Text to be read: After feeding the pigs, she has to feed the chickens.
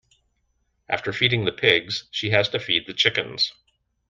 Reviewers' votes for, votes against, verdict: 2, 0, accepted